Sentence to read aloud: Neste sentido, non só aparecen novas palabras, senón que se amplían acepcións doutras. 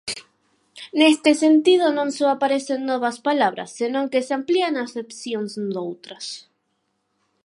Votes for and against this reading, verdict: 4, 0, accepted